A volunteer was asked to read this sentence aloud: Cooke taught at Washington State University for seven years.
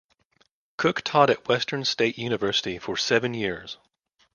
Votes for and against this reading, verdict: 0, 2, rejected